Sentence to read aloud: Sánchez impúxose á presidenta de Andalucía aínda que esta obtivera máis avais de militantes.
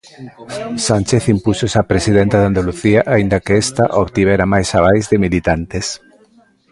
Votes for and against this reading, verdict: 0, 2, rejected